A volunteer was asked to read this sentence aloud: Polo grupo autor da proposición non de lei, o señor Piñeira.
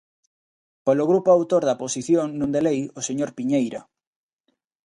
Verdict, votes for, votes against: rejected, 0, 2